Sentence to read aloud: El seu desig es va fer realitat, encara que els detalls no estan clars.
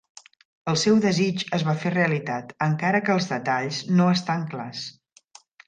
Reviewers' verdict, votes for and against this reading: accepted, 3, 0